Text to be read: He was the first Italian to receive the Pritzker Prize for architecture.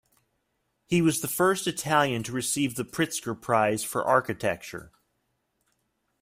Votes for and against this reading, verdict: 2, 0, accepted